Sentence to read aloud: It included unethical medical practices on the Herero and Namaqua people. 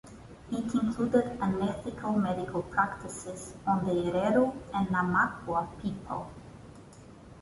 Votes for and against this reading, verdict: 0, 2, rejected